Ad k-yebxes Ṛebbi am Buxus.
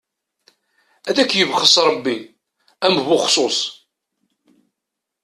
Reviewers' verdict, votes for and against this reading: rejected, 1, 2